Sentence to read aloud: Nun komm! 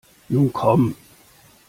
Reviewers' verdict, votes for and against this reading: accepted, 2, 0